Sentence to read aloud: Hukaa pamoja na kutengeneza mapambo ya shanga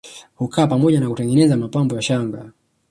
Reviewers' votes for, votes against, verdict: 1, 2, rejected